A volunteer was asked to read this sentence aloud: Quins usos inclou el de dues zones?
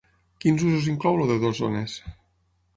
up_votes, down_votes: 3, 6